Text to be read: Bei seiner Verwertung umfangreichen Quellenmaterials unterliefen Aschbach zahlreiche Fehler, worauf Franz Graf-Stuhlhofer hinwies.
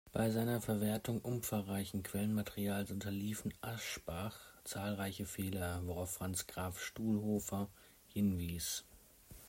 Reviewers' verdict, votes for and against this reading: accepted, 2, 0